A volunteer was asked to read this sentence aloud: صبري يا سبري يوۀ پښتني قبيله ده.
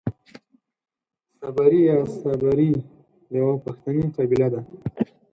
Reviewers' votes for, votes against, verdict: 4, 0, accepted